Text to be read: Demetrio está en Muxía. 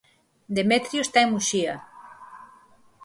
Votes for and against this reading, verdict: 4, 0, accepted